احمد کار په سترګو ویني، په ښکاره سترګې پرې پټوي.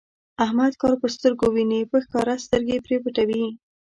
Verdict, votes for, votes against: accepted, 2, 0